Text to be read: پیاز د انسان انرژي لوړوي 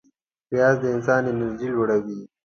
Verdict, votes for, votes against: accepted, 2, 0